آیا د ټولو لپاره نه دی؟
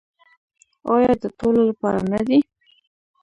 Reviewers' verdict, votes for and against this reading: rejected, 0, 2